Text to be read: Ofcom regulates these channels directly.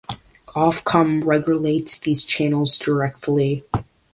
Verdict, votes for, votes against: accepted, 2, 1